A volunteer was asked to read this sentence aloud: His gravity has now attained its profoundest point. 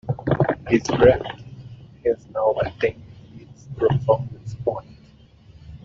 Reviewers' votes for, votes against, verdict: 0, 2, rejected